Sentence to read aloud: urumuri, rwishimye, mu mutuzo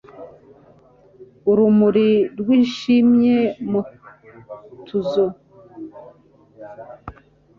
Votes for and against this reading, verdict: 0, 2, rejected